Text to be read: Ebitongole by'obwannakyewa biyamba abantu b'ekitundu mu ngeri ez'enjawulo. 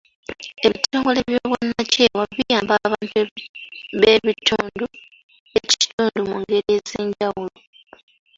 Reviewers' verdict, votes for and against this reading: rejected, 0, 2